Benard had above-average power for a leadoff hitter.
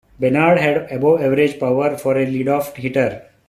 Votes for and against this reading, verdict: 2, 0, accepted